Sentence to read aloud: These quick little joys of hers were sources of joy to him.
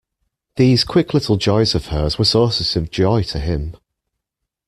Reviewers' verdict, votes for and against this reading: accepted, 2, 1